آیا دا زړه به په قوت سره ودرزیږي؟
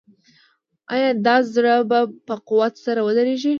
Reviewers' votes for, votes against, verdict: 2, 0, accepted